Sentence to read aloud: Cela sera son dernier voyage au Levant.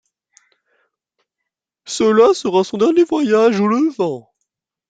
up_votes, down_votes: 1, 2